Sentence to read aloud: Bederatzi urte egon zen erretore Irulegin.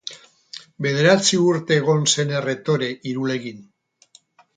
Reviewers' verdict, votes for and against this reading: rejected, 0, 2